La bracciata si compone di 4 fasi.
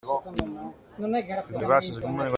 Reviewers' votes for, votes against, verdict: 0, 2, rejected